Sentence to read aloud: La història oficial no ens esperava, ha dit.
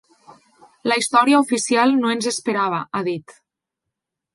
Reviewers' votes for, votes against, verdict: 3, 0, accepted